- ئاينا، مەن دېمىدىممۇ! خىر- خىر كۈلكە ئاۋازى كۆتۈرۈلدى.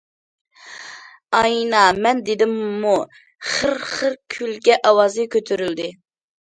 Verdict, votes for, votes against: rejected, 1, 2